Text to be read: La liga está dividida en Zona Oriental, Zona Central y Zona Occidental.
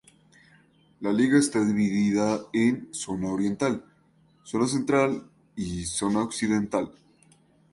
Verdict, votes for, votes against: accepted, 2, 0